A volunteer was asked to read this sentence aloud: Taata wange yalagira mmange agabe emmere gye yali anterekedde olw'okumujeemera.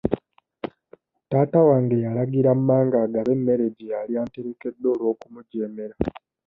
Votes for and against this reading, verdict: 1, 2, rejected